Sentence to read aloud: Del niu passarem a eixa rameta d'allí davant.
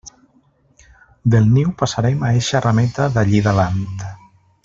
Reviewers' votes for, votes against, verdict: 2, 0, accepted